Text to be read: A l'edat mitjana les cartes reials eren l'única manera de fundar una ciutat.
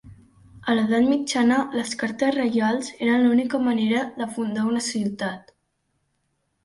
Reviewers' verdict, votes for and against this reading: accepted, 2, 0